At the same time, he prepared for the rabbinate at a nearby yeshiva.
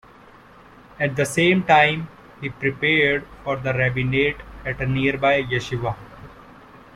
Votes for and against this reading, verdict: 2, 0, accepted